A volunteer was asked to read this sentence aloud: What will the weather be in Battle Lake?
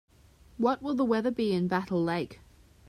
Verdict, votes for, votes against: accepted, 4, 0